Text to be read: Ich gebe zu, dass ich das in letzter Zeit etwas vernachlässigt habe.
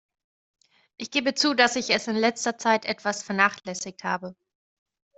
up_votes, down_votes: 1, 2